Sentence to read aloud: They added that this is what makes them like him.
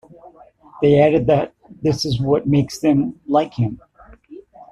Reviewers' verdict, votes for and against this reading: accepted, 2, 1